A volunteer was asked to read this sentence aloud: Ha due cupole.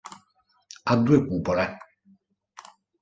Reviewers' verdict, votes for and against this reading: accepted, 2, 0